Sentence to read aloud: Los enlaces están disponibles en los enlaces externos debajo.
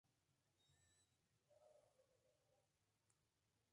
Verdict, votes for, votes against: rejected, 0, 2